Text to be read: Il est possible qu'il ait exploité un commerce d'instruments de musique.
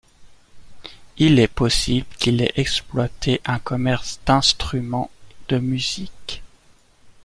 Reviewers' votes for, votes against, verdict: 2, 0, accepted